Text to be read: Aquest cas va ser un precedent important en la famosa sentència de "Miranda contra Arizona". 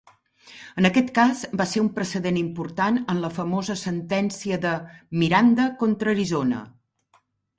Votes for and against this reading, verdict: 3, 1, accepted